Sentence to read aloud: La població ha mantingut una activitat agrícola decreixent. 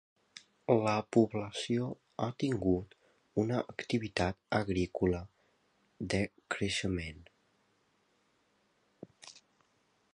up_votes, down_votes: 0, 2